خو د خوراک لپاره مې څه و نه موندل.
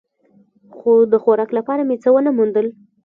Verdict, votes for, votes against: rejected, 1, 2